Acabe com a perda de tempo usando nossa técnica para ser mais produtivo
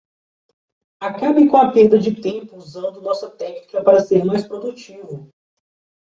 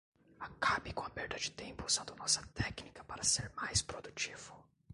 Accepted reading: first